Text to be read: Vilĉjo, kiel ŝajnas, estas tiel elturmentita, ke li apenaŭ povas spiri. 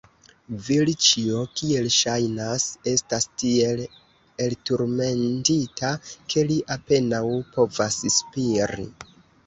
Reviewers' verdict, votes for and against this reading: rejected, 1, 2